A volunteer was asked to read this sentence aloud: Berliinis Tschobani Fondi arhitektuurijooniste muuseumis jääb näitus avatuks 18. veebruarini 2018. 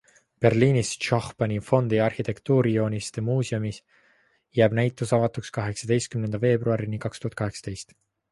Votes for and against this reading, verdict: 0, 2, rejected